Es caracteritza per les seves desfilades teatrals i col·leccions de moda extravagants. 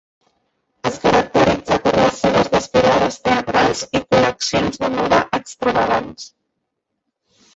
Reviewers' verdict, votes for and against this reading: rejected, 0, 2